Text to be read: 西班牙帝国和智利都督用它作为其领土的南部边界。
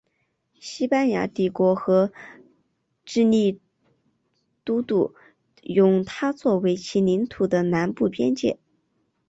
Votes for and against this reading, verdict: 4, 0, accepted